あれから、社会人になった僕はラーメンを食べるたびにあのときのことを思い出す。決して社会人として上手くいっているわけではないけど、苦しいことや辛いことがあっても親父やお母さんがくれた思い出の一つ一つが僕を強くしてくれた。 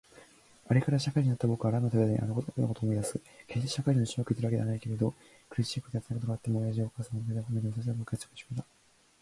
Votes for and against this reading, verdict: 0, 2, rejected